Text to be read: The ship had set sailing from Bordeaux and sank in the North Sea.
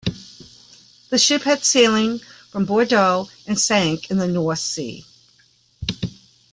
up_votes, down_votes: 1, 2